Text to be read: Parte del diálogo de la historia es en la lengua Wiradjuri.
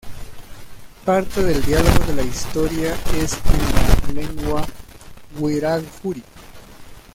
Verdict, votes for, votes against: rejected, 1, 2